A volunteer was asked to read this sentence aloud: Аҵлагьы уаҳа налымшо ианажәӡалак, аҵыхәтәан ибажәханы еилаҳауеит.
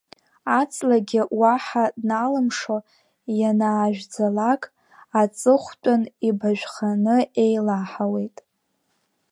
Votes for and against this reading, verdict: 2, 3, rejected